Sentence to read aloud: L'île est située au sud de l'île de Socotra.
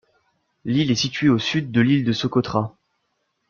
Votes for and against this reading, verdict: 2, 0, accepted